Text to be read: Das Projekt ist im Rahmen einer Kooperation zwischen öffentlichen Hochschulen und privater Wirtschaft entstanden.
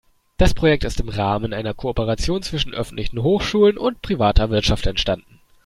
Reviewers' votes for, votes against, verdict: 2, 0, accepted